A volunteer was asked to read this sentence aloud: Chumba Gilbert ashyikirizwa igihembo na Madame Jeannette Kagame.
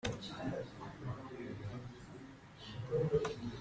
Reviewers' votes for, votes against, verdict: 0, 2, rejected